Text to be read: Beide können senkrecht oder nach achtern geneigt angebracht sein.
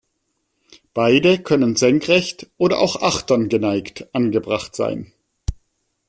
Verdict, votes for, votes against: rejected, 0, 2